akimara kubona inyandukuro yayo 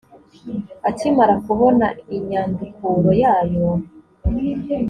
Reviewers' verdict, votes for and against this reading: accepted, 2, 0